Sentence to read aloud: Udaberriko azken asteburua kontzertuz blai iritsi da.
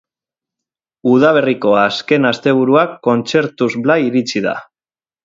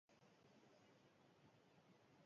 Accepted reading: first